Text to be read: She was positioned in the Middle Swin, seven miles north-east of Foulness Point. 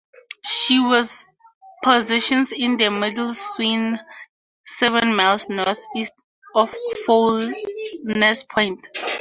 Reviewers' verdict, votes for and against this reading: rejected, 0, 2